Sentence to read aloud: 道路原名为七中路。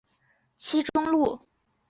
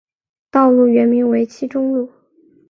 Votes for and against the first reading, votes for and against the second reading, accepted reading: 1, 3, 3, 0, second